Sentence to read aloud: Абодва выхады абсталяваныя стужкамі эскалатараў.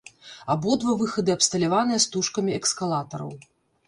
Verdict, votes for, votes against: rejected, 1, 2